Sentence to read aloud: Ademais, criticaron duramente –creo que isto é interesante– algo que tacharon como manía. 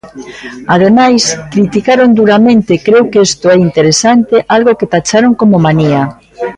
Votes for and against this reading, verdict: 2, 0, accepted